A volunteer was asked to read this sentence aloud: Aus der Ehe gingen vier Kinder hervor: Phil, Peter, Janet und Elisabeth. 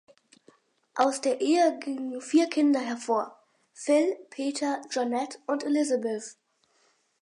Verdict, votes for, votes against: accepted, 4, 0